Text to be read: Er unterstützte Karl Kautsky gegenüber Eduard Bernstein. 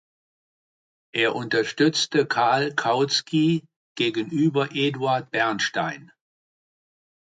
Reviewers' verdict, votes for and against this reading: accepted, 2, 0